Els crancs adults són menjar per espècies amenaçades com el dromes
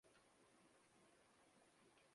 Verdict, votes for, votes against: rejected, 0, 2